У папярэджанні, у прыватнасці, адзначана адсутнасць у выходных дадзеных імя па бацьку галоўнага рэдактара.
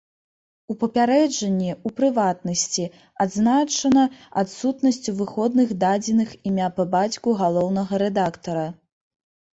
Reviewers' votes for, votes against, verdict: 1, 2, rejected